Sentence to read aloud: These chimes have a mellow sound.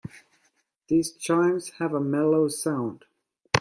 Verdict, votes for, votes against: accepted, 2, 0